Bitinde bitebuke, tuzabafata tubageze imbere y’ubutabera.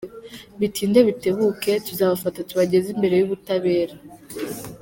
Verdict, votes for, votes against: accepted, 2, 1